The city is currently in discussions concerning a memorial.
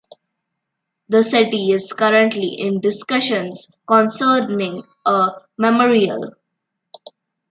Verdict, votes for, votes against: accepted, 2, 1